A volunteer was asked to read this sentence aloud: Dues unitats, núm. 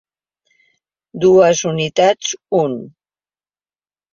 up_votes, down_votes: 0, 2